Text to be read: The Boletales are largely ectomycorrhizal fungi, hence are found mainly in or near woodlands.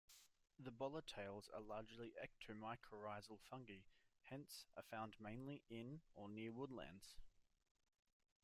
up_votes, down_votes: 1, 2